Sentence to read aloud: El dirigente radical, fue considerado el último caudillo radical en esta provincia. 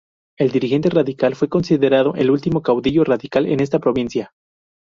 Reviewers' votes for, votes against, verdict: 4, 0, accepted